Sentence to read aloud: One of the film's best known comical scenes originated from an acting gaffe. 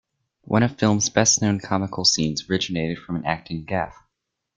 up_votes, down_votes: 1, 2